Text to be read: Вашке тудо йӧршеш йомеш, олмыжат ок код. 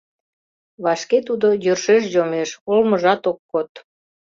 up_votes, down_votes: 2, 0